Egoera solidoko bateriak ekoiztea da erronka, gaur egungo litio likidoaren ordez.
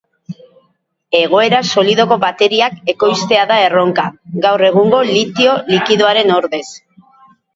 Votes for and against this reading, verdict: 2, 2, rejected